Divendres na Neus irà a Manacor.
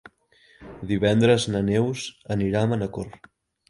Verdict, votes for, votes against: rejected, 0, 2